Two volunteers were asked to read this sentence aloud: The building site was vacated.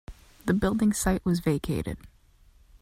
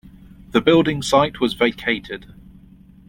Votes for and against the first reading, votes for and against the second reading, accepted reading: 2, 0, 1, 2, first